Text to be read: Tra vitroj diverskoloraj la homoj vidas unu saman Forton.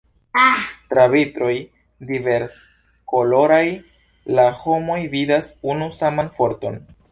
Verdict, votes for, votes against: accepted, 2, 0